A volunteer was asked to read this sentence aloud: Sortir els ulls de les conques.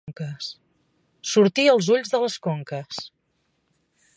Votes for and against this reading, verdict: 0, 2, rejected